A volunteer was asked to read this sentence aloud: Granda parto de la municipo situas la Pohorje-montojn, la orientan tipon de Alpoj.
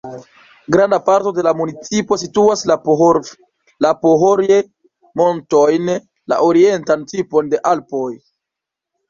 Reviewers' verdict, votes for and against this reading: rejected, 1, 2